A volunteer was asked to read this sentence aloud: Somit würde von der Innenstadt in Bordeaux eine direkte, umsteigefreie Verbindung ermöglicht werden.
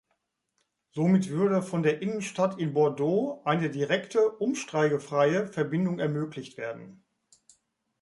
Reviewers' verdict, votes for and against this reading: rejected, 0, 2